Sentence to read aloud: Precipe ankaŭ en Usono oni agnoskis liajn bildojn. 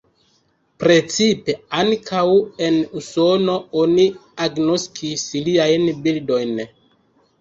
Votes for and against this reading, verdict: 1, 2, rejected